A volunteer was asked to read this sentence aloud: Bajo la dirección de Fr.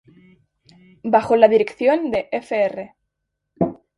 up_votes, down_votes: 0, 2